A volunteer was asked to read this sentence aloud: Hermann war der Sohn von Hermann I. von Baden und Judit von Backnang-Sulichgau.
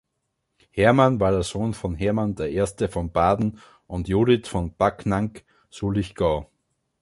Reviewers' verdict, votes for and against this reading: rejected, 0, 2